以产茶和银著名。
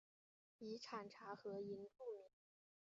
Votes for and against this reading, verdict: 4, 0, accepted